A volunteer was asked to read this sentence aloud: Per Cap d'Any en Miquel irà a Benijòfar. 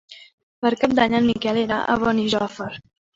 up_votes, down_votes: 2, 0